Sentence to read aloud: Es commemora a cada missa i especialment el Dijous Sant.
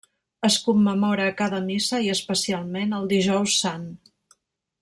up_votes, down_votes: 1, 2